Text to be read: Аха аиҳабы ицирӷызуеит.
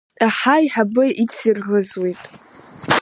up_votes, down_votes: 0, 2